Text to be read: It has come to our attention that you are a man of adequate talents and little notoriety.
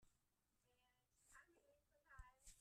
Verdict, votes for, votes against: rejected, 0, 2